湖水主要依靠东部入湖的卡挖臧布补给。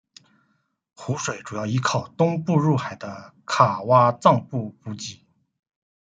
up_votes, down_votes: 1, 2